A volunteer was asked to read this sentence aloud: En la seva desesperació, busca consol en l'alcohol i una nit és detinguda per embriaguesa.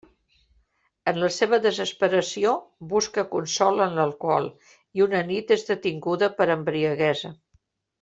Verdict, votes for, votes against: accepted, 3, 0